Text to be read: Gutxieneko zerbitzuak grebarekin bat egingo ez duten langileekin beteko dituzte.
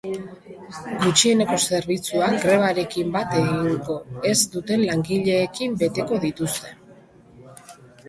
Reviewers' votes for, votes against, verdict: 1, 2, rejected